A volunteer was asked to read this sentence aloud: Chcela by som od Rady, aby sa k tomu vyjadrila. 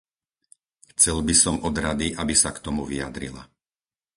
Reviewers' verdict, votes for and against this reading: rejected, 0, 4